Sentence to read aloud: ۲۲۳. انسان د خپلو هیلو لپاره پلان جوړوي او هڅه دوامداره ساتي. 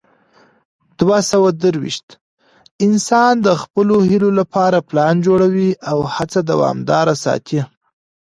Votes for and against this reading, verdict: 0, 2, rejected